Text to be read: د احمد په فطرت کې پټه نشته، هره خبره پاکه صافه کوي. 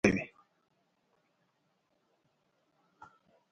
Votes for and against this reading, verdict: 0, 2, rejected